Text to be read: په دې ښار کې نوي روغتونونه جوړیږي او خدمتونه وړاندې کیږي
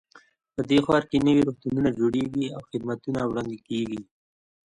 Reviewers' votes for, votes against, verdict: 2, 0, accepted